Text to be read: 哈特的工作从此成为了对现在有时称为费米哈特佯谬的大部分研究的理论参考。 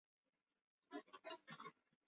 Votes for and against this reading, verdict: 0, 3, rejected